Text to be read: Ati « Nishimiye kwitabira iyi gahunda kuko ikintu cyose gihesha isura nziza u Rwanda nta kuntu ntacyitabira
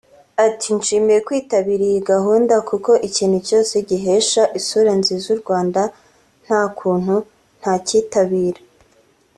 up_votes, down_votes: 1, 2